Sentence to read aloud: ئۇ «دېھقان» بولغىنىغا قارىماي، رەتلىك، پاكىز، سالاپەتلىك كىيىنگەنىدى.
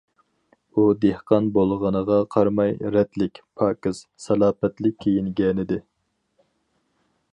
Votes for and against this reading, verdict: 4, 0, accepted